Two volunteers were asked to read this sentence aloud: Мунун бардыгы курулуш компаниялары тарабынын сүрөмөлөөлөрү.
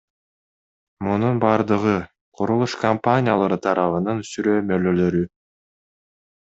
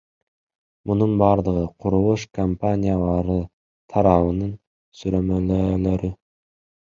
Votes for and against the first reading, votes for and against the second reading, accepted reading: 2, 1, 0, 2, first